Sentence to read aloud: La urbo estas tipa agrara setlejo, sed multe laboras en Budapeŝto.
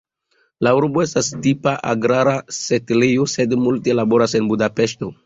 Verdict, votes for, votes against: accepted, 2, 0